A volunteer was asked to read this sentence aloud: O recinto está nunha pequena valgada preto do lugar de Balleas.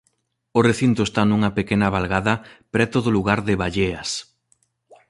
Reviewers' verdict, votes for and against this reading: accepted, 2, 0